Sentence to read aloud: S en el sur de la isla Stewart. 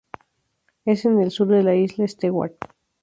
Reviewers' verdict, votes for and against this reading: rejected, 2, 2